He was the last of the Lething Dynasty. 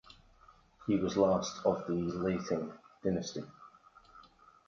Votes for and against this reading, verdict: 2, 0, accepted